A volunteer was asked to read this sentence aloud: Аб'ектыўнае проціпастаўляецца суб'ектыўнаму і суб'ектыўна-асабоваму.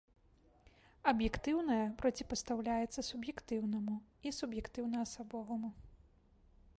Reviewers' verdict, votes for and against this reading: accepted, 2, 0